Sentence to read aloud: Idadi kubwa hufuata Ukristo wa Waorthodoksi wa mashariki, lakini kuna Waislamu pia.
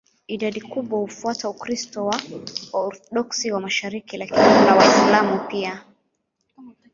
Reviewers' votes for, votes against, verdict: 0, 2, rejected